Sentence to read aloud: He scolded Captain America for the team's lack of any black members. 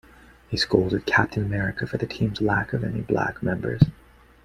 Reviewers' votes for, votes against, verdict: 2, 0, accepted